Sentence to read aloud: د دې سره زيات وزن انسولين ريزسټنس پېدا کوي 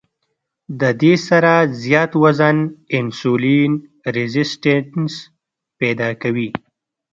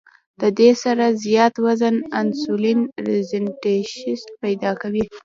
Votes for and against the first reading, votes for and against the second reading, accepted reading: 1, 2, 2, 1, second